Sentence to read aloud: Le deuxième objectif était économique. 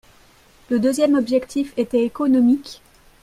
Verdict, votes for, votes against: accepted, 2, 0